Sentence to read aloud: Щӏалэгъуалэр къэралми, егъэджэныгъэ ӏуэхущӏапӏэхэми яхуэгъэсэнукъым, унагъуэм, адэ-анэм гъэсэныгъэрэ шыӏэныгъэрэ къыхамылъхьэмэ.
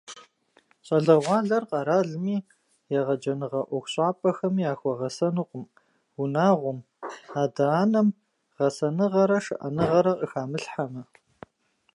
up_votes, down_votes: 2, 0